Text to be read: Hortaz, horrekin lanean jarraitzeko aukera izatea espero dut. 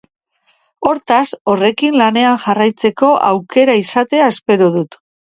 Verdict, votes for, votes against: accepted, 2, 0